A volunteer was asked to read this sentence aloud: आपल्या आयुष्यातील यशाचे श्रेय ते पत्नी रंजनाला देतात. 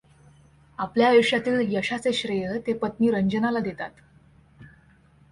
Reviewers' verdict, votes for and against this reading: accepted, 2, 0